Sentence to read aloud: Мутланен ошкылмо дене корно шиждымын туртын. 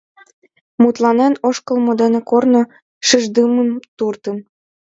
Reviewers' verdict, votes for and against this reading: accepted, 2, 0